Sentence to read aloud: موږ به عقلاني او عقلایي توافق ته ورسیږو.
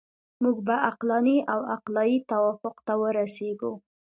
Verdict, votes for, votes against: accepted, 2, 0